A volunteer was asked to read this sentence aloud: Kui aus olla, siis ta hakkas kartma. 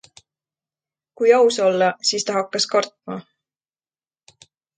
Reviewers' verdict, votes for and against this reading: accepted, 2, 0